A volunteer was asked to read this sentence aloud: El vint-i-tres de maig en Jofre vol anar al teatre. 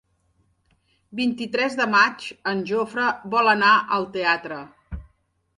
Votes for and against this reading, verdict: 3, 4, rejected